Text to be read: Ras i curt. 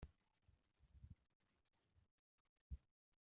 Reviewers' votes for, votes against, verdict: 0, 2, rejected